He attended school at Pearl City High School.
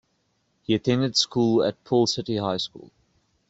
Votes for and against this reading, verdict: 1, 2, rejected